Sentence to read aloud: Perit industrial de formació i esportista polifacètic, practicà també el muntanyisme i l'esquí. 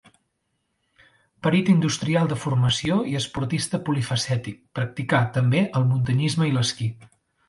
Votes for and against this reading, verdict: 2, 0, accepted